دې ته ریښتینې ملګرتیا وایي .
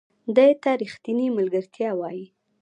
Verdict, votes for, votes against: rejected, 1, 2